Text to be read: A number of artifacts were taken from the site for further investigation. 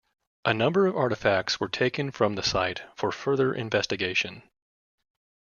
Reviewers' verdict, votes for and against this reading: accepted, 2, 0